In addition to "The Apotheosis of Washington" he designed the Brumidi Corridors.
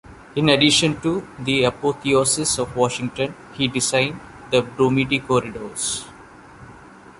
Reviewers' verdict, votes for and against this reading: accepted, 2, 0